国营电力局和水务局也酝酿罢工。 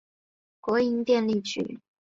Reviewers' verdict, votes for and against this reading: rejected, 0, 2